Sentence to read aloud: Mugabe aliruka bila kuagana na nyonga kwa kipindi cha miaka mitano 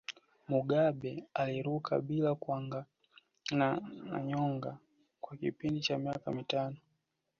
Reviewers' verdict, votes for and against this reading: rejected, 0, 2